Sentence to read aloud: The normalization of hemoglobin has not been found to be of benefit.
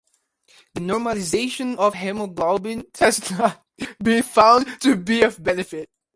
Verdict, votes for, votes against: rejected, 0, 2